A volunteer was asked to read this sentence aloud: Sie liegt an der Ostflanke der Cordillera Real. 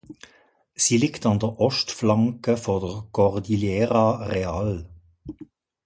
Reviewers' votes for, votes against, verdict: 2, 1, accepted